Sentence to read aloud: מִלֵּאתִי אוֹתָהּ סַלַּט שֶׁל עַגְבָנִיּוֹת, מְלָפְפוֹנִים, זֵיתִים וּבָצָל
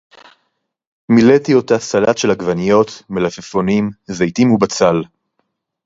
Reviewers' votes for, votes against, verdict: 4, 0, accepted